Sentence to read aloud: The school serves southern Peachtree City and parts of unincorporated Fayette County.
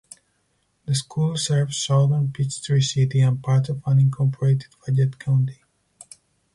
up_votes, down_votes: 2, 2